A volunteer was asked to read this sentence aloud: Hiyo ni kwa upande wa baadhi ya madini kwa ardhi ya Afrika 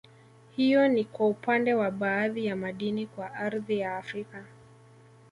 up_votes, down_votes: 2, 1